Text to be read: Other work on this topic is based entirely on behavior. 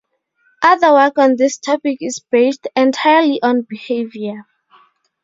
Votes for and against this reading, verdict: 2, 2, rejected